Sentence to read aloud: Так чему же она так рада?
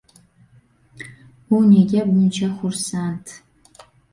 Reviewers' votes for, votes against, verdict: 1, 2, rejected